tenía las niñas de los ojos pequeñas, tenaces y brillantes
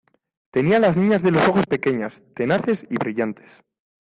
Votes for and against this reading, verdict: 2, 0, accepted